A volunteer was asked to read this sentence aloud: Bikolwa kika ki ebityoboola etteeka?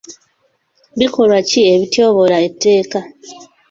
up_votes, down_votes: 1, 2